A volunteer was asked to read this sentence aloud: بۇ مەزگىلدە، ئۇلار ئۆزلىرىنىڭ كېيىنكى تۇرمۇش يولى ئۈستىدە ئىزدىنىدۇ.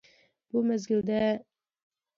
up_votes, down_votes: 0, 2